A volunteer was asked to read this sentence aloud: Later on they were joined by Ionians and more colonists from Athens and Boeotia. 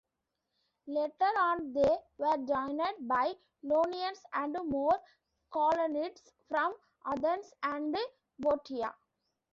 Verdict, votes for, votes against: rejected, 0, 2